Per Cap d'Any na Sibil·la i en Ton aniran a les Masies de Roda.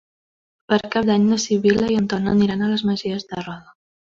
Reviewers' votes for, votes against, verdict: 3, 0, accepted